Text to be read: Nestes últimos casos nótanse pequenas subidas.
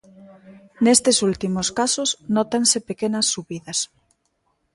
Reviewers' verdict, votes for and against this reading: accepted, 2, 0